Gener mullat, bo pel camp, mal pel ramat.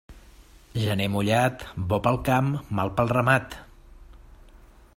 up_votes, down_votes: 3, 0